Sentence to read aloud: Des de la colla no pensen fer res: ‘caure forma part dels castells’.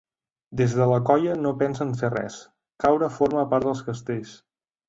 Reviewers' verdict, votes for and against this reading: accepted, 2, 0